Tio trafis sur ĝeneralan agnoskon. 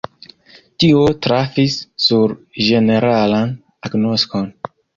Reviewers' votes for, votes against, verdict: 2, 1, accepted